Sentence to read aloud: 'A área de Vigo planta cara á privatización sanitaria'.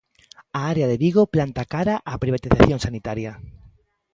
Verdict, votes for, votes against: accepted, 2, 0